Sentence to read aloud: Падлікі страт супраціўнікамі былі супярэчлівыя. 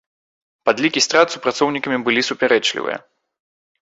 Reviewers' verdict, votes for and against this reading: rejected, 0, 2